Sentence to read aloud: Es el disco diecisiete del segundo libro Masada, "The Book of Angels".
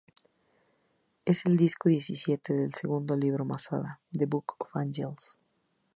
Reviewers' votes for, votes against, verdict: 2, 0, accepted